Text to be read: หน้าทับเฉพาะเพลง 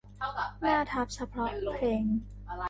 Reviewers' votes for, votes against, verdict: 0, 2, rejected